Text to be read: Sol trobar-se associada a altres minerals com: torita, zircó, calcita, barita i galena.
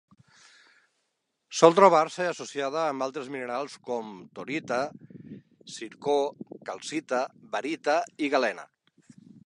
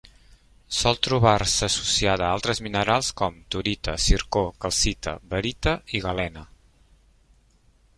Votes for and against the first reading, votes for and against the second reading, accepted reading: 0, 2, 3, 0, second